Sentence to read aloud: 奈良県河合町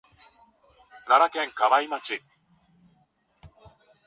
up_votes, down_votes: 0, 2